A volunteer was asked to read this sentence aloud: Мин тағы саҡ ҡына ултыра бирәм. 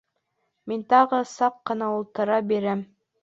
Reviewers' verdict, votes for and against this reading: accepted, 2, 0